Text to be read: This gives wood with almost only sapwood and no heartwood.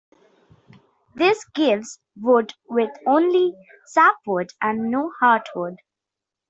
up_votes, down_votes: 0, 2